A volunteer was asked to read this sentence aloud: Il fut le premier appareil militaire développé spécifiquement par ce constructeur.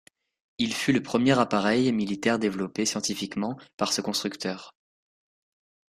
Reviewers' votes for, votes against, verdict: 0, 2, rejected